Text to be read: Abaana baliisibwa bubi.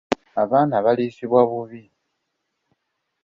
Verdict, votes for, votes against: accepted, 2, 0